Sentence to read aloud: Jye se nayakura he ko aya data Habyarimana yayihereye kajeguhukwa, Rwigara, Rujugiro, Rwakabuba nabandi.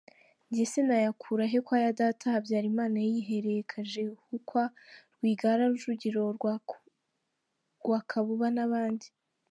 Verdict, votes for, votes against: rejected, 1, 2